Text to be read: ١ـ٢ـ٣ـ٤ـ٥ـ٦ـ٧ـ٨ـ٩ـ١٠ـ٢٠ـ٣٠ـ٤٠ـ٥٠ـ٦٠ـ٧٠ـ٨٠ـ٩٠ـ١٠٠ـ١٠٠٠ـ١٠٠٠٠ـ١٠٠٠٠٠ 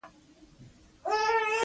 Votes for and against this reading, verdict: 0, 2, rejected